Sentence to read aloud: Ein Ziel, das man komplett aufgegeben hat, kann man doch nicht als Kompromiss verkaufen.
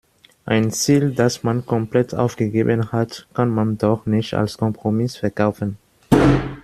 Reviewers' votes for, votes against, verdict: 1, 2, rejected